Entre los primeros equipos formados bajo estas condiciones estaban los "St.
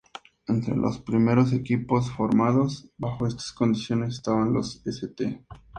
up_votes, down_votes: 2, 0